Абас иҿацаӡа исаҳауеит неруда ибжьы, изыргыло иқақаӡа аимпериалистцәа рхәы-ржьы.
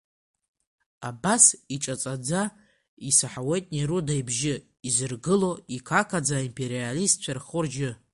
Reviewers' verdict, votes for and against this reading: accepted, 3, 2